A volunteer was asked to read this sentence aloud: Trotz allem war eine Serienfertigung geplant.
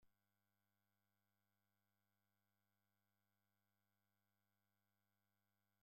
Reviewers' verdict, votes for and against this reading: rejected, 0, 2